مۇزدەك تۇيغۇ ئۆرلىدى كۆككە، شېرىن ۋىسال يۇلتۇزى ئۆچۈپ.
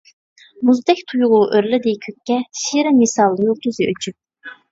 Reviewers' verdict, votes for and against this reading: rejected, 1, 2